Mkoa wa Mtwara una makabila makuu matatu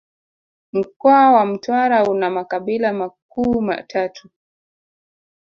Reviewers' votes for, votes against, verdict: 2, 0, accepted